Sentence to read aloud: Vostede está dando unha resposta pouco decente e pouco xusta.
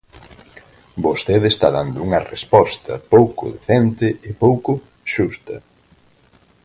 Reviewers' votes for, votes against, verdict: 4, 0, accepted